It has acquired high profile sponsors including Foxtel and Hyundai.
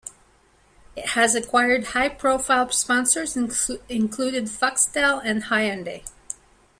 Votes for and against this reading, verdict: 1, 2, rejected